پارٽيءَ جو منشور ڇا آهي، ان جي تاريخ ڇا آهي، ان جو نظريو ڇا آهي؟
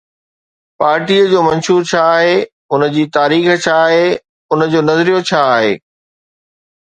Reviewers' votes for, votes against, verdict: 2, 0, accepted